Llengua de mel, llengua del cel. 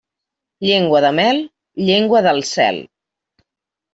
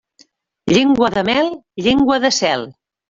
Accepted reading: first